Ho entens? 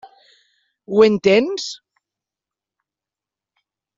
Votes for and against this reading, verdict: 0, 2, rejected